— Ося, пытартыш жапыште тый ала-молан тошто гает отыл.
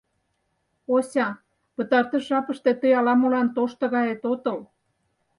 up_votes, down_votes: 4, 0